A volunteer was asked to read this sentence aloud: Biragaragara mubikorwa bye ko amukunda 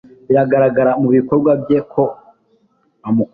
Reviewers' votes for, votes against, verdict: 0, 2, rejected